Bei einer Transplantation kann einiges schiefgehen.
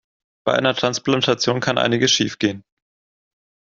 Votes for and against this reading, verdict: 2, 0, accepted